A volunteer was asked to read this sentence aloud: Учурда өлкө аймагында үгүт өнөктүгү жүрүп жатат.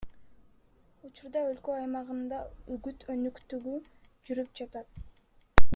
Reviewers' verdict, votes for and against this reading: accepted, 2, 1